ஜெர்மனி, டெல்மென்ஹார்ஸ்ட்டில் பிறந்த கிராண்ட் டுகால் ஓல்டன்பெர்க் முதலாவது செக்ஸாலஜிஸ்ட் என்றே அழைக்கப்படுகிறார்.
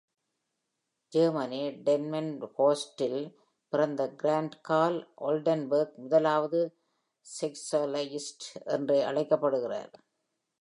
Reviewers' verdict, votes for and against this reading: rejected, 1, 2